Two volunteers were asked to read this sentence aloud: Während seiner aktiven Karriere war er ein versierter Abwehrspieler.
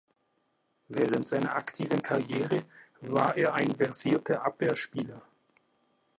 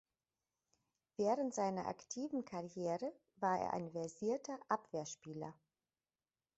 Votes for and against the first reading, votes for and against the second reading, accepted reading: 0, 2, 2, 0, second